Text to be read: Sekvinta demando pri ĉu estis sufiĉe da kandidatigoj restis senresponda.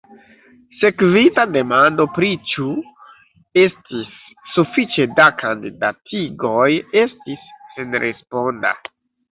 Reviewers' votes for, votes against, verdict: 1, 2, rejected